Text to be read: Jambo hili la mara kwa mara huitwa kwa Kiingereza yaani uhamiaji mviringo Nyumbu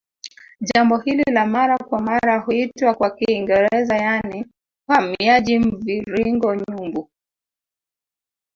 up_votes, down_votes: 1, 2